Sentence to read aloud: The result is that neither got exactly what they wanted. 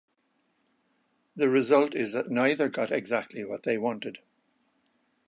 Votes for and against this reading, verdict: 2, 0, accepted